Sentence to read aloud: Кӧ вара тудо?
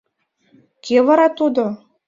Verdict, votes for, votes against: accepted, 2, 0